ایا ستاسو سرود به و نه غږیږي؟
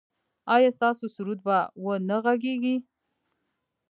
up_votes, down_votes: 1, 2